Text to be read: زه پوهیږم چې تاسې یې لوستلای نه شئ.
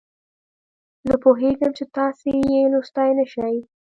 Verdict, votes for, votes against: accepted, 2, 0